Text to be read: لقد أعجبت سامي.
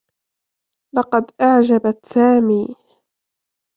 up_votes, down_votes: 2, 0